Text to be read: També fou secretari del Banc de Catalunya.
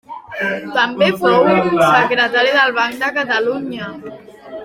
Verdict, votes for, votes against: rejected, 2, 4